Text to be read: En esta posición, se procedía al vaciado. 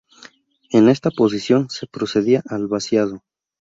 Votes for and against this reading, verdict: 2, 0, accepted